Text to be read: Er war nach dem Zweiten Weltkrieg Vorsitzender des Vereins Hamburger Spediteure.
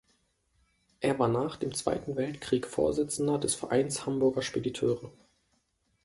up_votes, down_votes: 2, 0